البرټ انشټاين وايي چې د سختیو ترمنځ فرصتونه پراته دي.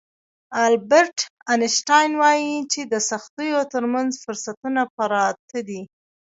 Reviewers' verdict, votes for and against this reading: rejected, 0, 2